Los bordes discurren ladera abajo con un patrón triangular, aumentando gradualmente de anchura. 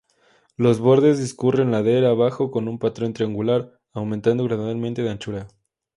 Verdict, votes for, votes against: accepted, 2, 0